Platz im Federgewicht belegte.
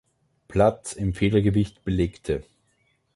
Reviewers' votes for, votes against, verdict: 3, 0, accepted